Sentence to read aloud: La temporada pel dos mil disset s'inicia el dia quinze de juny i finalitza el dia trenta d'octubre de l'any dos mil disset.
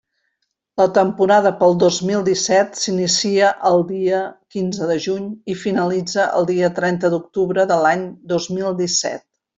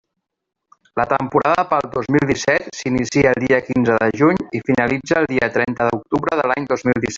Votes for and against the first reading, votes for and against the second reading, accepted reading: 3, 0, 0, 2, first